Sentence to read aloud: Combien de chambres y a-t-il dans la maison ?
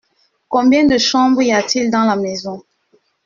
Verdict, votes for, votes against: accepted, 2, 0